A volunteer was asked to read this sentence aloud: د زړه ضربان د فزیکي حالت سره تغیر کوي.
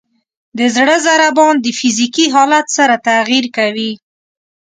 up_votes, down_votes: 2, 0